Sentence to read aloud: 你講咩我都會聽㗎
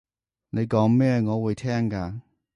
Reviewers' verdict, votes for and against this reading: rejected, 0, 3